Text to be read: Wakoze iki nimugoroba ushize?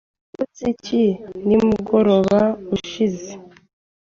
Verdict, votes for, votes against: accepted, 2, 0